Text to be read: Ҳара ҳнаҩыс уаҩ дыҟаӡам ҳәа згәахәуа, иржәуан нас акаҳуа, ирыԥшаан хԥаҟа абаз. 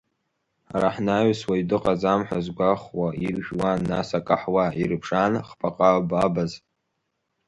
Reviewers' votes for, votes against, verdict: 0, 2, rejected